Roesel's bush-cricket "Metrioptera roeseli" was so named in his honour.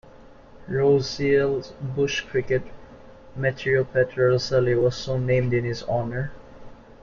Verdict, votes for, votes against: accepted, 2, 0